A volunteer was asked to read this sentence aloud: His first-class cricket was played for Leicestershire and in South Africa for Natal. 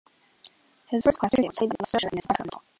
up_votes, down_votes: 0, 2